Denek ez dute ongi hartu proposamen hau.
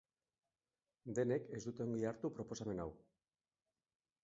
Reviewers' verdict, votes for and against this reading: rejected, 1, 2